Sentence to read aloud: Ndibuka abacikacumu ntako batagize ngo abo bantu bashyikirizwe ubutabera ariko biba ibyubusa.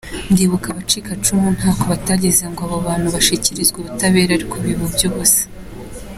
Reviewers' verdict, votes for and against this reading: rejected, 1, 2